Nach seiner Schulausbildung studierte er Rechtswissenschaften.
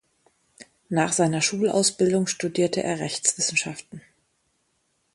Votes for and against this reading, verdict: 2, 0, accepted